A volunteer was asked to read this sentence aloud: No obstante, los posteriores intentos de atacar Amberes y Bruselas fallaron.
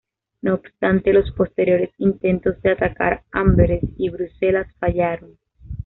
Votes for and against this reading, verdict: 2, 0, accepted